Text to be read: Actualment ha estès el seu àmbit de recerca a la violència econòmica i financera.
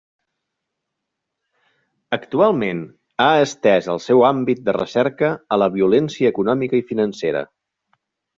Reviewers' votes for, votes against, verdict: 2, 0, accepted